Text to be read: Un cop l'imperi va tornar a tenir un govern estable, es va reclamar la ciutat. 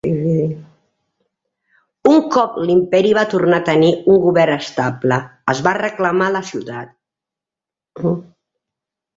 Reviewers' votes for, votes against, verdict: 0, 2, rejected